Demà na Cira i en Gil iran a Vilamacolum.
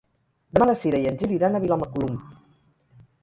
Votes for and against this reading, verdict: 0, 4, rejected